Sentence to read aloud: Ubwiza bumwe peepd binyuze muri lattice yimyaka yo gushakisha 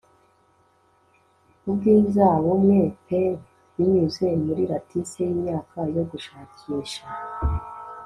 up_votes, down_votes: 2, 0